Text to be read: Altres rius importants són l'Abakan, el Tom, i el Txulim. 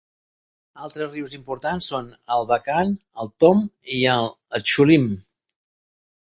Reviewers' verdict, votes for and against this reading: accepted, 3, 0